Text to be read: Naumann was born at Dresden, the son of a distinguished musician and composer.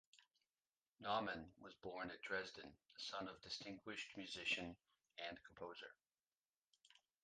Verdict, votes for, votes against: rejected, 0, 2